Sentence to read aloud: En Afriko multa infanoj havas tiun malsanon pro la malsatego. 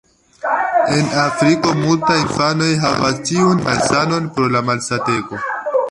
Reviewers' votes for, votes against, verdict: 0, 2, rejected